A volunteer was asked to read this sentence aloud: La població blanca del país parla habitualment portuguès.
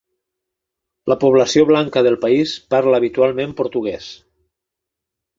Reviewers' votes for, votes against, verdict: 2, 0, accepted